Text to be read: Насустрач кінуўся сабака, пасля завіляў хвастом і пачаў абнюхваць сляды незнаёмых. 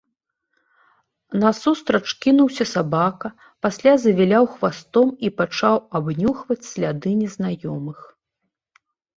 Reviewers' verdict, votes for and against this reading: accepted, 3, 0